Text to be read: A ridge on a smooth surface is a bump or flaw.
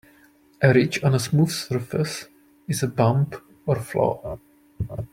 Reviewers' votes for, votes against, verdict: 2, 0, accepted